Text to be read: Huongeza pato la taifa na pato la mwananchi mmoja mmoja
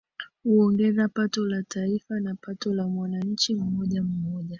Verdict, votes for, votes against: rejected, 0, 2